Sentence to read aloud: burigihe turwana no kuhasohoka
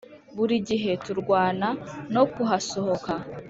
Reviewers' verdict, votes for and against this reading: accepted, 2, 1